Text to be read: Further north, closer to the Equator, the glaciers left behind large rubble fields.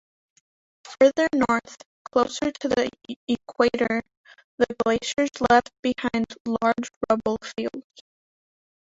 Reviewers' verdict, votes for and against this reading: rejected, 1, 3